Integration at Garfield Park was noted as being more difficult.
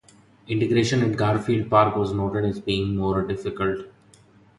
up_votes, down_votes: 2, 0